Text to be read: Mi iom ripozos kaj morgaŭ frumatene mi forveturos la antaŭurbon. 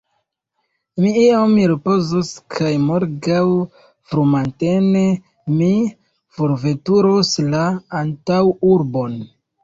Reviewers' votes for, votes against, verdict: 0, 2, rejected